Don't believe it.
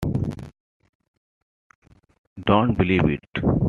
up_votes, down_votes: 2, 0